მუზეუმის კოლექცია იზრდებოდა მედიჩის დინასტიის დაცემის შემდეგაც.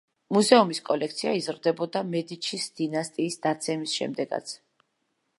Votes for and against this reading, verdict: 2, 0, accepted